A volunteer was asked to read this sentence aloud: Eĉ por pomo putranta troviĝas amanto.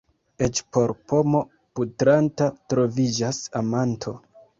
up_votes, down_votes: 2, 0